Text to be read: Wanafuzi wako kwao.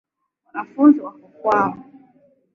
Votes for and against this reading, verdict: 2, 0, accepted